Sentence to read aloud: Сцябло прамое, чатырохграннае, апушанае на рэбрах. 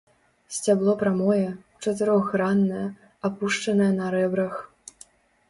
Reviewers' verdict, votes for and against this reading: rejected, 1, 2